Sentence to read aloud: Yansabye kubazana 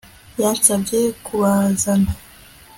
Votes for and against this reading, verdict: 2, 0, accepted